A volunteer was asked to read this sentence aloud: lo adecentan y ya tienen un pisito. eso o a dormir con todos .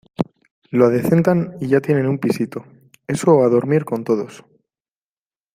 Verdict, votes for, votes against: accepted, 2, 1